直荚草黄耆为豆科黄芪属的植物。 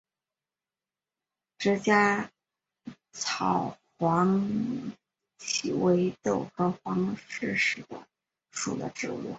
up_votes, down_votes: 4, 1